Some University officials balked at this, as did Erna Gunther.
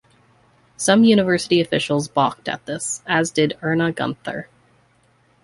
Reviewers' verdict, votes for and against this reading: accepted, 2, 0